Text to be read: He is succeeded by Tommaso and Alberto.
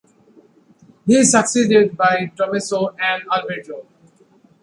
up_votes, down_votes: 2, 0